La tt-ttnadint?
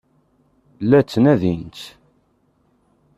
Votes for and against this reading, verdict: 1, 3, rejected